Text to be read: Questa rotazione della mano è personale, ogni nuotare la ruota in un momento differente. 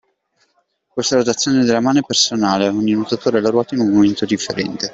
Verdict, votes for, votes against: rejected, 0, 2